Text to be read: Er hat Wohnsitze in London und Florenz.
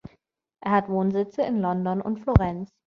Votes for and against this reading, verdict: 2, 0, accepted